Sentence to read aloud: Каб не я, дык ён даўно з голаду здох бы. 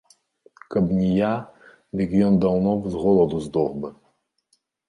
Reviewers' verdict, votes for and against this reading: accepted, 2, 0